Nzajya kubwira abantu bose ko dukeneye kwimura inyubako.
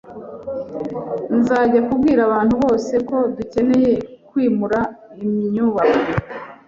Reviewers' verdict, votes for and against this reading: accepted, 2, 0